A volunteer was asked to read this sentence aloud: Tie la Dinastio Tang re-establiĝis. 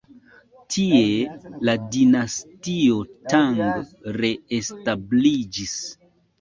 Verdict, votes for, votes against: rejected, 0, 2